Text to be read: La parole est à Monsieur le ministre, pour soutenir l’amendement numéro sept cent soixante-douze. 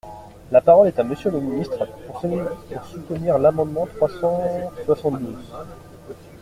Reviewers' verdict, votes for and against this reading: rejected, 0, 2